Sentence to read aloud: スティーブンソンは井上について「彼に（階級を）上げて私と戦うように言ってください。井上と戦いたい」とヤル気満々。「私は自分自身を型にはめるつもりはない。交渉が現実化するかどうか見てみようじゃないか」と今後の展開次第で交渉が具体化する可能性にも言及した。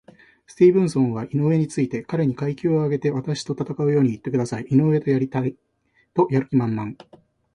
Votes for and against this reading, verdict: 0, 3, rejected